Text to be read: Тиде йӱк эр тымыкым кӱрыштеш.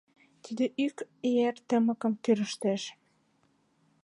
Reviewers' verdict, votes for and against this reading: rejected, 0, 2